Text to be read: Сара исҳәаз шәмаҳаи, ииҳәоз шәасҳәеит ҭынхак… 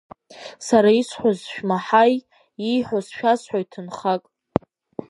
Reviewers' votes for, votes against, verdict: 3, 1, accepted